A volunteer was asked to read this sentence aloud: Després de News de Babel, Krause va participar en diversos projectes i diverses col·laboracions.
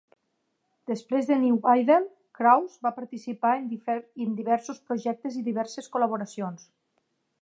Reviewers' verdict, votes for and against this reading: rejected, 0, 2